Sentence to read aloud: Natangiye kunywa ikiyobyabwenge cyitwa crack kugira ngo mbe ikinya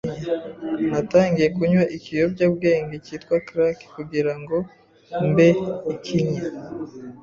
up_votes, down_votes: 2, 0